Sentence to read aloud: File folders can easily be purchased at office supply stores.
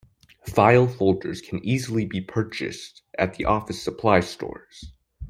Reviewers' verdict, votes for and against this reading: rejected, 2, 3